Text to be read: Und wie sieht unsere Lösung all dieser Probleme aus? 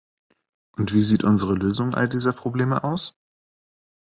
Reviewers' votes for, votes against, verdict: 2, 0, accepted